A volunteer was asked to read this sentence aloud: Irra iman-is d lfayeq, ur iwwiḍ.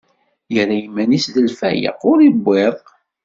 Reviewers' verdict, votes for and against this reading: accepted, 2, 0